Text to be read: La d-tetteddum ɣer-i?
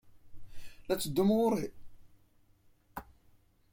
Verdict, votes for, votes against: accepted, 2, 0